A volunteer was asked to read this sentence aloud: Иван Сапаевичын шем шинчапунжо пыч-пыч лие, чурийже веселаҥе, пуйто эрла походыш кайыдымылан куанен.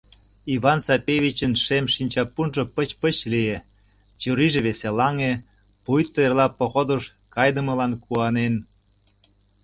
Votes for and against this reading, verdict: 1, 2, rejected